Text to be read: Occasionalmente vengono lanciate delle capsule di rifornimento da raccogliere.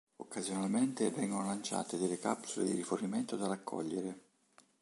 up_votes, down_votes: 2, 0